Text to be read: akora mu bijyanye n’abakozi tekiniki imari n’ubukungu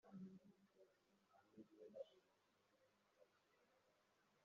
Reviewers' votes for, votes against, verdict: 1, 3, rejected